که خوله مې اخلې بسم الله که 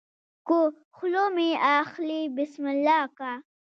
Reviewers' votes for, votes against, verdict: 2, 0, accepted